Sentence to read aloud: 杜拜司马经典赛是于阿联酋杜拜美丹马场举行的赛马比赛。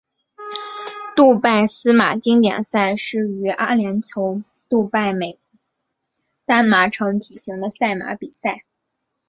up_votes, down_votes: 5, 1